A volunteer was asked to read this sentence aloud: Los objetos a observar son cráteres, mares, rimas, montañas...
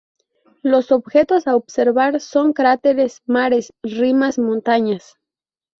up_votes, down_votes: 2, 2